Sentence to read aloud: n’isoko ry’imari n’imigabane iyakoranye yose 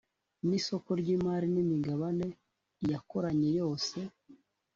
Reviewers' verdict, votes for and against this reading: accepted, 3, 0